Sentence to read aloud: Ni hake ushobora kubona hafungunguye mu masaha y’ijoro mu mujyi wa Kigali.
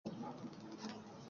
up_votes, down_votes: 0, 2